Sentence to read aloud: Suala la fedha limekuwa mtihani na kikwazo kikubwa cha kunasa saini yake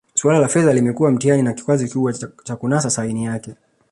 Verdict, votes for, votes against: accepted, 2, 0